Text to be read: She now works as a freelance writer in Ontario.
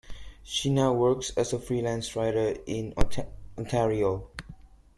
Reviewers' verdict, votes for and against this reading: rejected, 0, 2